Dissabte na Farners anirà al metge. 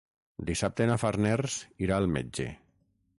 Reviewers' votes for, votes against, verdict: 3, 6, rejected